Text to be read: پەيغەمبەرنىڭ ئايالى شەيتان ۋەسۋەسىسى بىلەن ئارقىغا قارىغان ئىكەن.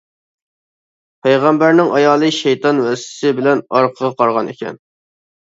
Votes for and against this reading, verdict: 0, 2, rejected